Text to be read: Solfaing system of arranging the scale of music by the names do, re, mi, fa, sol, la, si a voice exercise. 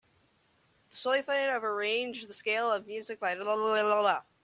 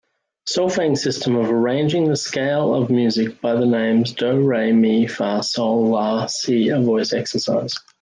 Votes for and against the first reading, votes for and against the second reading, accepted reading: 0, 2, 2, 1, second